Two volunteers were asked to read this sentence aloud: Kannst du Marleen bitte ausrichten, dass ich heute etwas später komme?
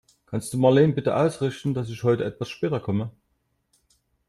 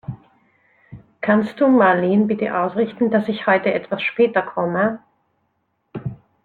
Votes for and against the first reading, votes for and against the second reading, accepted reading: 1, 2, 2, 0, second